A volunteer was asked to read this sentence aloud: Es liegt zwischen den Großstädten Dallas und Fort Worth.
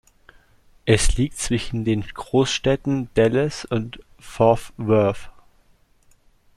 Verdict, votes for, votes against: rejected, 1, 2